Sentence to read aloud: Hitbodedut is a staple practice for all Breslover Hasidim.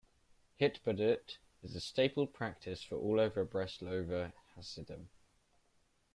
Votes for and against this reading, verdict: 0, 2, rejected